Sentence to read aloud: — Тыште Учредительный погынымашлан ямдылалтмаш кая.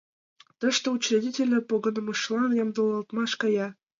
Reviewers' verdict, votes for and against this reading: rejected, 1, 2